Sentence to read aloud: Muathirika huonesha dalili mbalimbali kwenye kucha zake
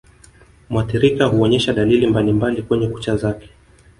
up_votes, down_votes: 2, 1